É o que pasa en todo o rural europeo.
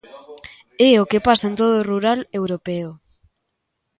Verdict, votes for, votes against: accepted, 2, 0